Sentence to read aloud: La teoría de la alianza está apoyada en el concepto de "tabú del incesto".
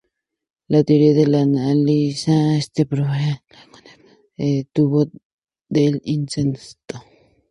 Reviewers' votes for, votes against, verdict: 0, 2, rejected